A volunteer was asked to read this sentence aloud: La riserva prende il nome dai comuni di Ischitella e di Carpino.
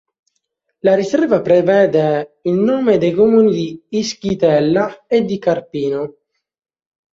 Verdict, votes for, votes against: rejected, 0, 3